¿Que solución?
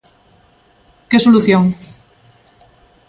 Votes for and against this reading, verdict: 2, 0, accepted